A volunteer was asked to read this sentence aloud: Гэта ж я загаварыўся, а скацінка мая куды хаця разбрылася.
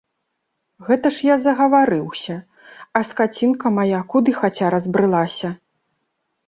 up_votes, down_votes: 2, 0